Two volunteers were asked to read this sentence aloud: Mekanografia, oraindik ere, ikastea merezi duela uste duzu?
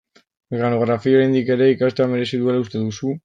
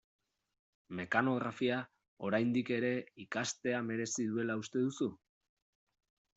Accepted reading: second